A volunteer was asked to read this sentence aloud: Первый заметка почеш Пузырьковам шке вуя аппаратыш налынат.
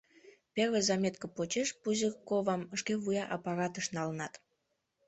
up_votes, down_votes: 1, 2